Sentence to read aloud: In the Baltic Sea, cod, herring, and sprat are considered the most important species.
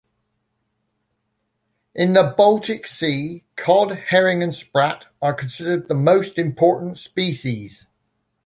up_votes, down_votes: 2, 0